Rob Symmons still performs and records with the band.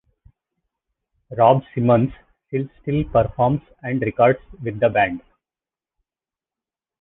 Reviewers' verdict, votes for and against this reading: rejected, 0, 2